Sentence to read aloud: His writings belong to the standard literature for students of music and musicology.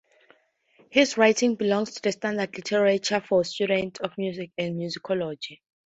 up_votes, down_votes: 4, 0